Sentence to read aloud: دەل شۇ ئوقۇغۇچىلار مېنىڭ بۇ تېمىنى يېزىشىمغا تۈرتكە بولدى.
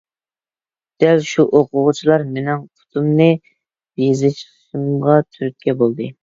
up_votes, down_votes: 0, 2